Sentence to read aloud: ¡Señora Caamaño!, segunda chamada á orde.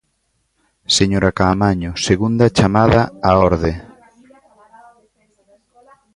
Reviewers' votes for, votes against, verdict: 1, 2, rejected